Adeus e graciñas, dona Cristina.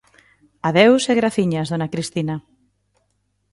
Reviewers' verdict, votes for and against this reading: accepted, 2, 0